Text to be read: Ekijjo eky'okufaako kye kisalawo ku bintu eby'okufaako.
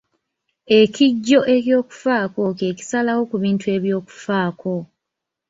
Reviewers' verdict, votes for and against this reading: rejected, 0, 2